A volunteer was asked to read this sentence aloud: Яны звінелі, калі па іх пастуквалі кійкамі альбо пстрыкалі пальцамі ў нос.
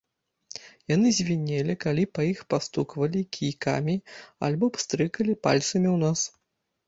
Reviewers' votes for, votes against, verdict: 2, 0, accepted